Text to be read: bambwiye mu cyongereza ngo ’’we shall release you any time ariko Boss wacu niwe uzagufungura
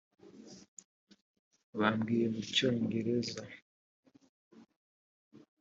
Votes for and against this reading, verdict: 0, 4, rejected